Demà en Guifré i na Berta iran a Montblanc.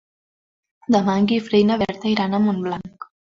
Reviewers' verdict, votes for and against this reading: accepted, 2, 0